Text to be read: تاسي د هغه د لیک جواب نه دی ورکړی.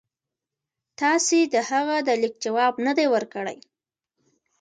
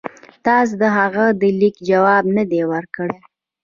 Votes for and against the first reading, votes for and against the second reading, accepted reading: 1, 2, 2, 0, second